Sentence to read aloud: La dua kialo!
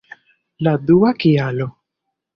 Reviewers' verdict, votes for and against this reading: accepted, 2, 0